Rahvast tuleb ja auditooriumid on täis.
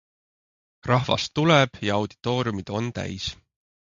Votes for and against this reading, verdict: 3, 0, accepted